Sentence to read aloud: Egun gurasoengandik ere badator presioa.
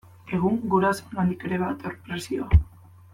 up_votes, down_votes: 0, 2